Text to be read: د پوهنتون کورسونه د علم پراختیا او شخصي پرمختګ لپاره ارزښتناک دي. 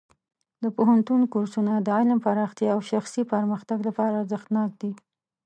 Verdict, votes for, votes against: accepted, 2, 0